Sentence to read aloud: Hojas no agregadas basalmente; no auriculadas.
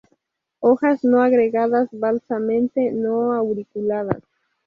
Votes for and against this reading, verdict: 0, 2, rejected